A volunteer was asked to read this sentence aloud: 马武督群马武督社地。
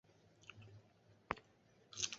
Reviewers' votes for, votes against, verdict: 0, 4, rejected